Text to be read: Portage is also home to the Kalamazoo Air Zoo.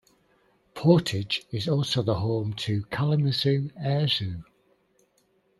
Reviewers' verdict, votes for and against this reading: rejected, 0, 2